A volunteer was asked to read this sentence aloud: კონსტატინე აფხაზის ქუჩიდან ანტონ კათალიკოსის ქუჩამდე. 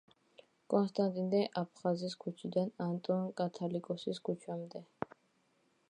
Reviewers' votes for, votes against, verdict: 2, 0, accepted